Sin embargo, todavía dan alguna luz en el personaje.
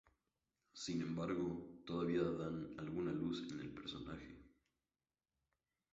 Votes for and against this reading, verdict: 2, 4, rejected